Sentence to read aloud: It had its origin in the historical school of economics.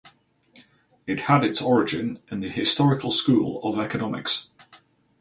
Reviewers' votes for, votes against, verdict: 4, 0, accepted